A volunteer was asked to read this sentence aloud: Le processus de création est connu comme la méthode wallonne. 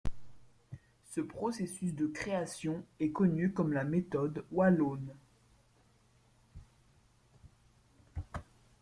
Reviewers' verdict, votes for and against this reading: rejected, 1, 2